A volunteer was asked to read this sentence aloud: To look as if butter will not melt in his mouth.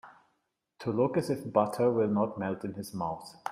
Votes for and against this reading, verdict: 2, 0, accepted